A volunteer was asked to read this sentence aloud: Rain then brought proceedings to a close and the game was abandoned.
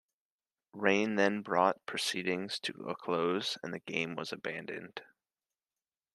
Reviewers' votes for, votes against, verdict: 2, 1, accepted